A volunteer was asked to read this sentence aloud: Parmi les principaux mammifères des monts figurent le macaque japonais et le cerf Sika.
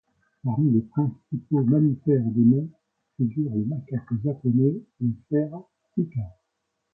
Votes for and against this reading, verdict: 0, 2, rejected